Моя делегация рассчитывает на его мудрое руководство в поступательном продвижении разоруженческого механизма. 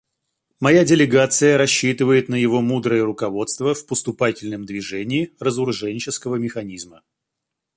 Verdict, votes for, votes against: rejected, 0, 2